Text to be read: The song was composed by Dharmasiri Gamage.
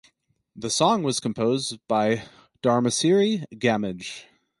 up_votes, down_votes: 2, 2